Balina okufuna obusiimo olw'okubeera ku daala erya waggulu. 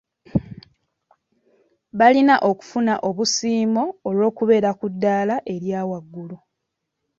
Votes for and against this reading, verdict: 2, 0, accepted